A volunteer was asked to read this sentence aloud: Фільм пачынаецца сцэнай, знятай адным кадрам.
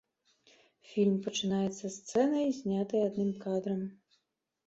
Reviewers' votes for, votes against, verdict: 3, 1, accepted